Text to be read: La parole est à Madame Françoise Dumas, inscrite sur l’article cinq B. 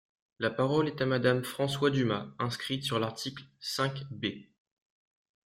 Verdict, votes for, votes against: rejected, 1, 2